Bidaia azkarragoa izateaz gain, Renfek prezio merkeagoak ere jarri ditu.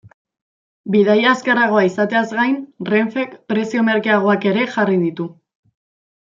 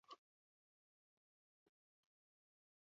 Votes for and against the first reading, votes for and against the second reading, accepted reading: 2, 0, 0, 4, first